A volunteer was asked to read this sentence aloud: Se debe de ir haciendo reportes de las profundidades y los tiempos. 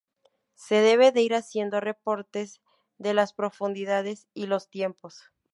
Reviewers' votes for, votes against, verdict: 0, 2, rejected